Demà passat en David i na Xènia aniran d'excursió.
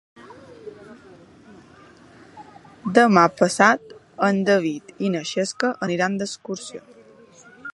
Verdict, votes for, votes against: rejected, 1, 2